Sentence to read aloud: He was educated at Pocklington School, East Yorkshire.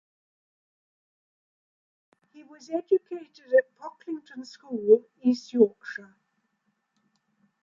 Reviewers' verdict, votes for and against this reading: accepted, 2, 0